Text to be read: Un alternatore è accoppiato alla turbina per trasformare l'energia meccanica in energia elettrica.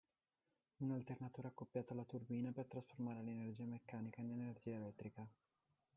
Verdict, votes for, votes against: rejected, 0, 2